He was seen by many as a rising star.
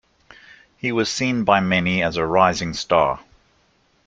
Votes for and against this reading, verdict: 2, 0, accepted